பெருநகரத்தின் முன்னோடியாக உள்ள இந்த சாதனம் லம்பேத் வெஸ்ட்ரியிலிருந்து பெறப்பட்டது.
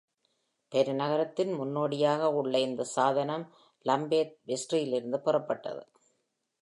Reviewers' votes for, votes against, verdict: 2, 0, accepted